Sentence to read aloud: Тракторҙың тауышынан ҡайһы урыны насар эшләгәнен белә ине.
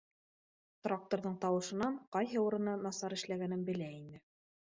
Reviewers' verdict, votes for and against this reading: accepted, 2, 0